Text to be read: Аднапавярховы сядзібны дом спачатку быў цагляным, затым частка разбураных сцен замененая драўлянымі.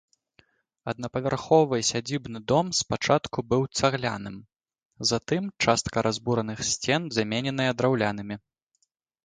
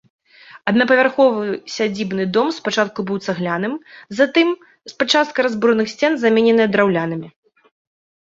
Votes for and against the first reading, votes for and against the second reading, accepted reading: 2, 0, 0, 2, first